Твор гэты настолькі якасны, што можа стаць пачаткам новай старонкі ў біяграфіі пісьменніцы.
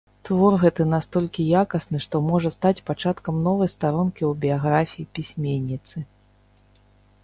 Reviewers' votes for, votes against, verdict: 2, 0, accepted